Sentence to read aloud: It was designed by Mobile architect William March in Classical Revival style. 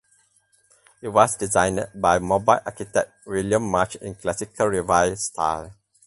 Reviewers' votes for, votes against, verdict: 2, 0, accepted